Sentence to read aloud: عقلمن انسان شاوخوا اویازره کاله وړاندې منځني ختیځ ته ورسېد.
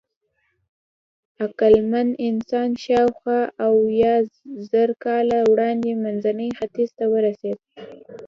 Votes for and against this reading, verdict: 2, 0, accepted